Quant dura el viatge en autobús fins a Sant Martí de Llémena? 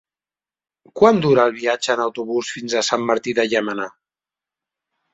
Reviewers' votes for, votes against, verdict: 3, 0, accepted